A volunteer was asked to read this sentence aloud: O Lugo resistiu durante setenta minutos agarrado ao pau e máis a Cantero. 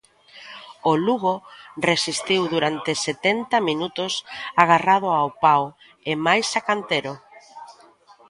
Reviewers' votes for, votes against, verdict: 2, 0, accepted